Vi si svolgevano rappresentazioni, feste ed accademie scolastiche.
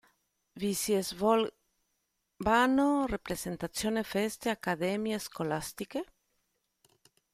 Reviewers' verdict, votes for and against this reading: rejected, 0, 2